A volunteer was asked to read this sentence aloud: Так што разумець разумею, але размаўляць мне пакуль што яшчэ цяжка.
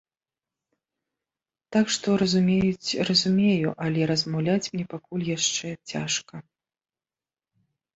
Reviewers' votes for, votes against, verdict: 0, 2, rejected